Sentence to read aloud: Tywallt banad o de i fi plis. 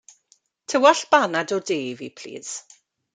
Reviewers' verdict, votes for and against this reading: accepted, 2, 0